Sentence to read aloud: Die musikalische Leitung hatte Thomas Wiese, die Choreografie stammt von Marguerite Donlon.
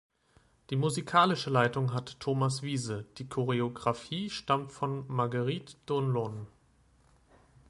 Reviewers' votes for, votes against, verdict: 2, 1, accepted